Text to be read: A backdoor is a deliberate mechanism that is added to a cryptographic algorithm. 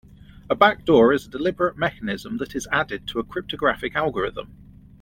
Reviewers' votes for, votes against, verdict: 2, 0, accepted